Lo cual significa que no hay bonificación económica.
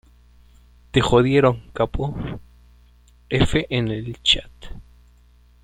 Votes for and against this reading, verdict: 0, 2, rejected